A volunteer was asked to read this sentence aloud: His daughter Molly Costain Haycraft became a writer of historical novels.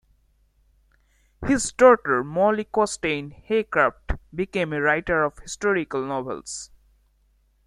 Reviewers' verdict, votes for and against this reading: rejected, 1, 2